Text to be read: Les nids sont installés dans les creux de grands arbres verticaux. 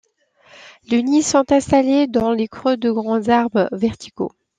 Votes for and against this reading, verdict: 1, 2, rejected